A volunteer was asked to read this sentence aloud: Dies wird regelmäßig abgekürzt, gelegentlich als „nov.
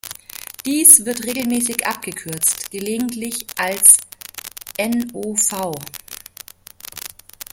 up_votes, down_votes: 1, 2